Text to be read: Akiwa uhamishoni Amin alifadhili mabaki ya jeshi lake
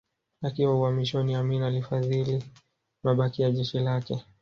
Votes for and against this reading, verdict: 2, 1, accepted